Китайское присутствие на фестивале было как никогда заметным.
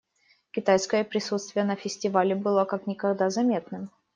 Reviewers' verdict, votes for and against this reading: accepted, 2, 0